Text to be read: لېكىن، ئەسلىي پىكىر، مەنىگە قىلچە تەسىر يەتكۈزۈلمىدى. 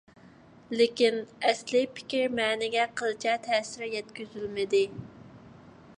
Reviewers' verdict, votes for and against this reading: accepted, 2, 0